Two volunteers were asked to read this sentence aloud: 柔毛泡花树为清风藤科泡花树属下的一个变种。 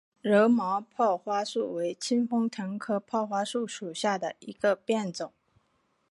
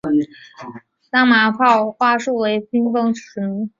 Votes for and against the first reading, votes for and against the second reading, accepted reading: 4, 1, 0, 2, first